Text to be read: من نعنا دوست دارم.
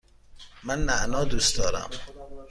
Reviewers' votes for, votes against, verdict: 2, 0, accepted